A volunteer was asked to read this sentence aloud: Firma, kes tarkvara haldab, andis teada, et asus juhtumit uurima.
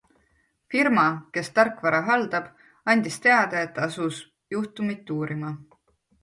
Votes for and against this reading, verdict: 2, 0, accepted